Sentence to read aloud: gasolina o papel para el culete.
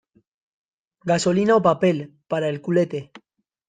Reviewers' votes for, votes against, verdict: 2, 0, accepted